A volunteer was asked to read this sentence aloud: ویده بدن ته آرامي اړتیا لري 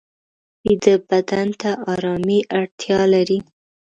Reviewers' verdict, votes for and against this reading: accepted, 2, 0